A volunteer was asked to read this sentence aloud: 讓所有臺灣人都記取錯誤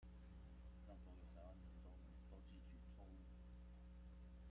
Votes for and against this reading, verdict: 0, 2, rejected